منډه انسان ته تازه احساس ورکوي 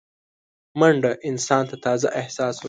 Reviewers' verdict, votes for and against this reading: rejected, 1, 2